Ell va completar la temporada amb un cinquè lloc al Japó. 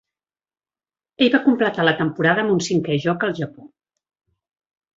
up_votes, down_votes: 0, 2